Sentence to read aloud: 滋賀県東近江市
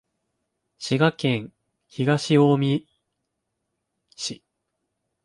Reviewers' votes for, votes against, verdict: 0, 2, rejected